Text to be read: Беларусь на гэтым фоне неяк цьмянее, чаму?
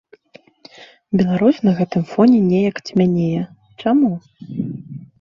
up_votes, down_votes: 2, 0